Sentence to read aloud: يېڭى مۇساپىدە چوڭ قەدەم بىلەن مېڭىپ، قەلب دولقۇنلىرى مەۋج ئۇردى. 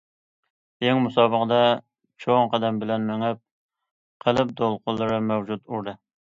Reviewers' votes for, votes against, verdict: 0, 2, rejected